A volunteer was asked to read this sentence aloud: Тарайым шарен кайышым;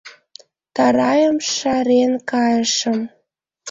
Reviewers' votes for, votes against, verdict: 2, 0, accepted